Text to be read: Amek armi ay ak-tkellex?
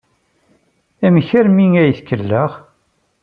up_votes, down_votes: 1, 2